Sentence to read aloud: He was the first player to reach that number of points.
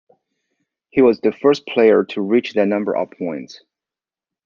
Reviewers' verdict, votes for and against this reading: accepted, 2, 0